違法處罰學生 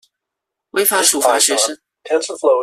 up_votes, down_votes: 0, 2